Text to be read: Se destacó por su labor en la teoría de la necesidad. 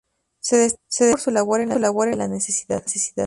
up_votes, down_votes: 0, 4